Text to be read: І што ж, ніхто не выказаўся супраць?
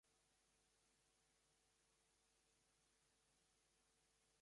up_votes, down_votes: 1, 2